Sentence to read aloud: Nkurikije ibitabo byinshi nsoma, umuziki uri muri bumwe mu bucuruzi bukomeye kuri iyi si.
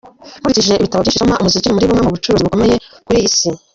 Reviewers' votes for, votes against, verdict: 0, 2, rejected